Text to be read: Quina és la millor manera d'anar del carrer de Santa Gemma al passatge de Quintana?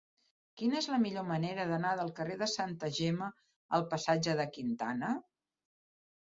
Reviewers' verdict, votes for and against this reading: accepted, 3, 0